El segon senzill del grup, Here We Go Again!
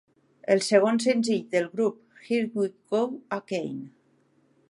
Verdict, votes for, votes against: rejected, 0, 2